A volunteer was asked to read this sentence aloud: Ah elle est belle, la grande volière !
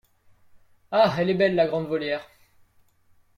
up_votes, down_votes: 2, 0